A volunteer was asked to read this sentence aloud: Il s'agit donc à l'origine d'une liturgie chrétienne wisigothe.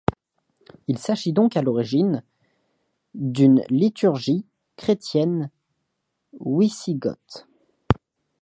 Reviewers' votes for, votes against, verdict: 2, 0, accepted